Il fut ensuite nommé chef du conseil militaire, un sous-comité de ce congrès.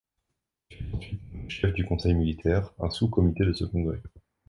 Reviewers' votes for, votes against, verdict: 0, 2, rejected